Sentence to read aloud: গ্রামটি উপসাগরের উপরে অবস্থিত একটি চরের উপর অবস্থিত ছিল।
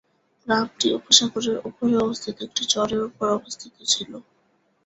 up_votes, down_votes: 0, 2